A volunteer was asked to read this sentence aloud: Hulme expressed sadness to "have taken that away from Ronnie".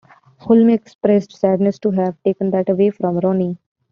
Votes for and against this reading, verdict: 2, 1, accepted